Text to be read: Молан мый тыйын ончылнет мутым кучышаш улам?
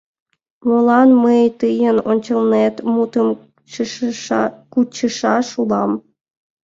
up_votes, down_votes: 1, 2